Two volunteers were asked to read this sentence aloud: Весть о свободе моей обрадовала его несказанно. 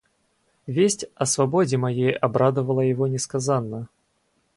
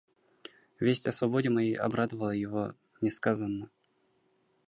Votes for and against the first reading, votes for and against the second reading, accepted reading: 2, 2, 2, 0, second